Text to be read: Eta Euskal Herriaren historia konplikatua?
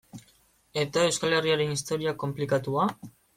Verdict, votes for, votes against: accepted, 2, 0